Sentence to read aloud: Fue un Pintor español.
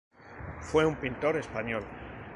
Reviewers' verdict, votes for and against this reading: accepted, 2, 0